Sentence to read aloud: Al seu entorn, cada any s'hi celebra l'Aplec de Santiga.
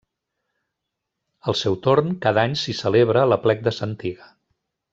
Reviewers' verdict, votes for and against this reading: rejected, 1, 2